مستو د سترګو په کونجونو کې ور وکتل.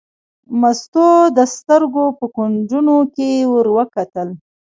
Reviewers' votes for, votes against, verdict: 0, 2, rejected